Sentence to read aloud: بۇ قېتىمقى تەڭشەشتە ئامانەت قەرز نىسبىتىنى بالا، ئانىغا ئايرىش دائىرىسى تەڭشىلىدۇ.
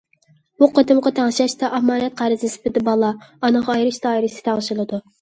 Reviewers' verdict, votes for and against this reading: rejected, 0, 2